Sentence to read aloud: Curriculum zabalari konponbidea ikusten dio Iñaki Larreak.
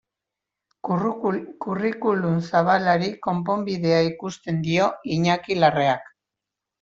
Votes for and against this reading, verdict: 0, 2, rejected